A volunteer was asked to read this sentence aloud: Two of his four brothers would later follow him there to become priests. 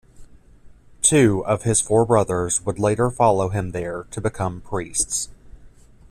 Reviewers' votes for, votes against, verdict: 2, 0, accepted